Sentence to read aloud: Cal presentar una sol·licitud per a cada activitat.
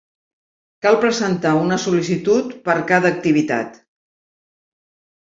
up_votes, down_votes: 0, 2